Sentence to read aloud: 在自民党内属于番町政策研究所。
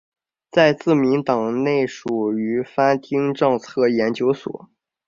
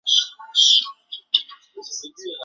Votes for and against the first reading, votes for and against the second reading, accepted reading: 3, 0, 0, 3, first